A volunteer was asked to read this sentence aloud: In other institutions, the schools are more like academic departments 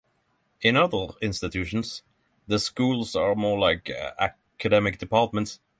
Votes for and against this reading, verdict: 3, 0, accepted